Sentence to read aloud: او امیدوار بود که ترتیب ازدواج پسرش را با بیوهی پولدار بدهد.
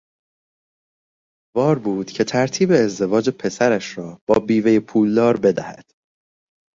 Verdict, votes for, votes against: rejected, 0, 2